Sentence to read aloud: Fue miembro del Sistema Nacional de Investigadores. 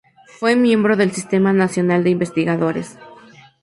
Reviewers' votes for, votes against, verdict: 2, 0, accepted